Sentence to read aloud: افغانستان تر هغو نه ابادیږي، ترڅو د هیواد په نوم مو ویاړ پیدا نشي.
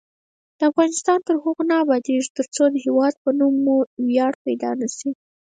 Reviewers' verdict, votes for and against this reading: rejected, 0, 4